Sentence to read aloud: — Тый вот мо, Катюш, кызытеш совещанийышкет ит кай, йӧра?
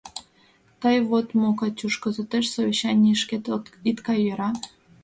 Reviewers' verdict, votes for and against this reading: rejected, 0, 2